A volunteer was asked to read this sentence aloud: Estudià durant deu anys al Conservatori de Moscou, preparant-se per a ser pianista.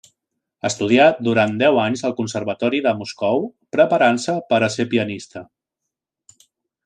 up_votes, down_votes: 3, 0